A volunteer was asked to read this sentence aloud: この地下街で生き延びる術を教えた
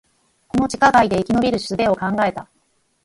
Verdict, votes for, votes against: rejected, 2, 4